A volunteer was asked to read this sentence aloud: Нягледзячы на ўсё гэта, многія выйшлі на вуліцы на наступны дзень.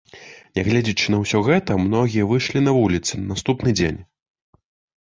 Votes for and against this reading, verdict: 2, 0, accepted